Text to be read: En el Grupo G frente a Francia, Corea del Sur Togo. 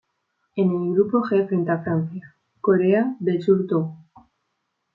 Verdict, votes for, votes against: accepted, 3, 0